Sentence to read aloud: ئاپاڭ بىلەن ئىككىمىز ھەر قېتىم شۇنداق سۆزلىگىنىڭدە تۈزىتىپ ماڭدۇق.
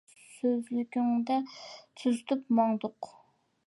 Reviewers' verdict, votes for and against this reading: rejected, 0, 2